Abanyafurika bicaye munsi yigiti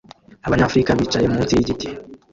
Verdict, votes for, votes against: rejected, 1, 2